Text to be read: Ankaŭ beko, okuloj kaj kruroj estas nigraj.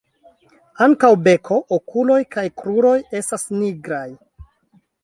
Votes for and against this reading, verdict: 2, 0, accepted